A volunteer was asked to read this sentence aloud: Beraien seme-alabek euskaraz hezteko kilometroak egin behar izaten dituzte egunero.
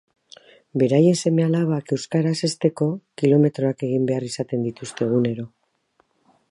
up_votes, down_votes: 0, 2